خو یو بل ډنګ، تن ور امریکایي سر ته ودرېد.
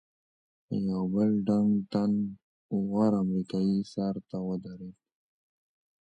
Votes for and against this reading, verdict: 1, 2, rejected